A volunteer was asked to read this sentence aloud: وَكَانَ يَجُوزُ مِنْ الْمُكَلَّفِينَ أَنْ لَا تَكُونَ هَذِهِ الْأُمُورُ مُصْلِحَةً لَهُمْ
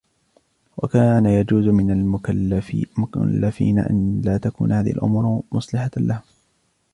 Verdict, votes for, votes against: rejected, 1, 2